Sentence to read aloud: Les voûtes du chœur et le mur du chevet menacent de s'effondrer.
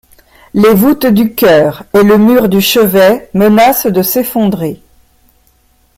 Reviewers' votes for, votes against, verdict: 2, 1, accepted